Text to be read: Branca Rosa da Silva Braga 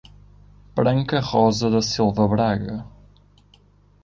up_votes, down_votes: 2, 0